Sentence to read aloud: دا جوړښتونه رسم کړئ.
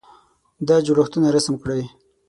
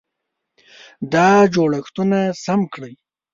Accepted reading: first